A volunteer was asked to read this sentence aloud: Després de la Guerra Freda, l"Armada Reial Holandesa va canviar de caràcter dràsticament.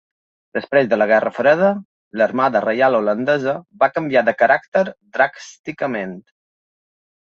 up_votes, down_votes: 1, 3